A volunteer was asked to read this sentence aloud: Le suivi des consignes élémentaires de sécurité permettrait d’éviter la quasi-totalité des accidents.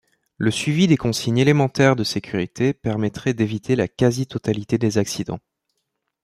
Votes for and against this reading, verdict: 2, 0, accepted